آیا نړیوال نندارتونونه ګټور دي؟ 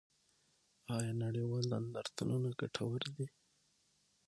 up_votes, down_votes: 3, 6